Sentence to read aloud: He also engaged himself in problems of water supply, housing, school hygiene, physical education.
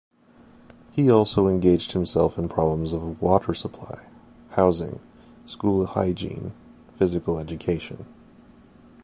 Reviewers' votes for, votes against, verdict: 2, 0, accepted